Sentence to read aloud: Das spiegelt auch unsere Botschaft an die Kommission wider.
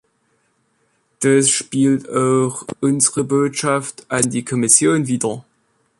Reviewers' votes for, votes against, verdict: 0, 2, rejected